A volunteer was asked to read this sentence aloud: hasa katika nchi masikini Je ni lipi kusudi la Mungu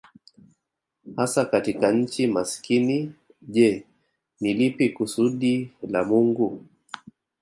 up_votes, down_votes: 1, 2